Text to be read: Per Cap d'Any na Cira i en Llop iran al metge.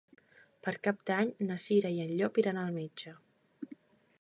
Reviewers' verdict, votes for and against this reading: accepted, 3, 0